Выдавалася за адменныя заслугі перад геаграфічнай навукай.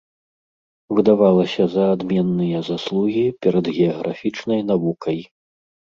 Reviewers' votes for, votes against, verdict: 2, 1, accepted